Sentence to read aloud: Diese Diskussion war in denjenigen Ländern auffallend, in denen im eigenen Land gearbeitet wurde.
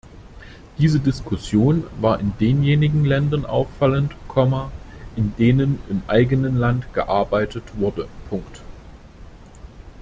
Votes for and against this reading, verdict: 0, 2, rejected